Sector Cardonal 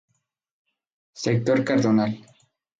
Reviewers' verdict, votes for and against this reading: accepted, 2, 0